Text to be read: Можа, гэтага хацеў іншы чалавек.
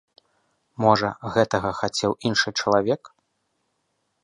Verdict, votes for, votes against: accepted, 2, 0